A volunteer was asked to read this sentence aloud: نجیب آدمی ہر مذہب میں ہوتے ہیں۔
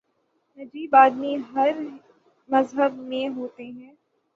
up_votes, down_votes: 3, 0